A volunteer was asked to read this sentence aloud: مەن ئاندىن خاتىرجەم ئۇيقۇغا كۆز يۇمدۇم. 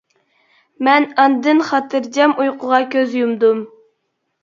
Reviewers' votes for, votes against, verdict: 2, 0, accepted